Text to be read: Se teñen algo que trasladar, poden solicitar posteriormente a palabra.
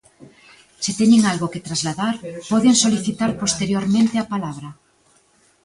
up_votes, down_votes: 0, 2